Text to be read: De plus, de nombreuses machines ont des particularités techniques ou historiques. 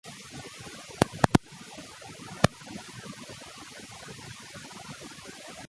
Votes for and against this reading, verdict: 0, 2, rejected